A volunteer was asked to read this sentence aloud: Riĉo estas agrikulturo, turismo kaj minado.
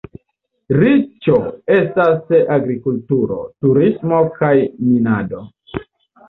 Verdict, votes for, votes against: rejected, 0, 2